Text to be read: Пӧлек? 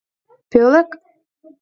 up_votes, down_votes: 2, 0